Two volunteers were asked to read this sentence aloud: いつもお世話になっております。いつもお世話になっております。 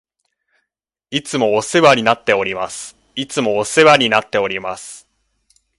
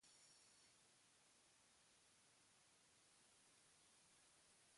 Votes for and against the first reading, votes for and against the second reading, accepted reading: 2, 0, 0, 2, first